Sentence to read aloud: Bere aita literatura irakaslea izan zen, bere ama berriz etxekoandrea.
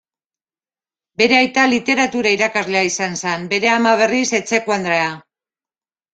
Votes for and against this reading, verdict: 0, 2, rejected